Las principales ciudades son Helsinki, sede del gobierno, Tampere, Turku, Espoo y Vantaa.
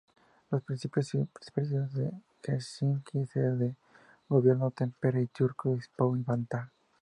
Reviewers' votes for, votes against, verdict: 0, 2, rejected